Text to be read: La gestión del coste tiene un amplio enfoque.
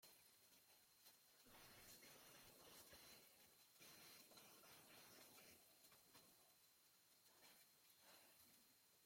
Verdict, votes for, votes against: rejected, 0, 2